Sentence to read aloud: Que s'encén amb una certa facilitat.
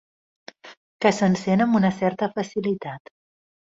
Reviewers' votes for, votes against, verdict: 3, 0, accepted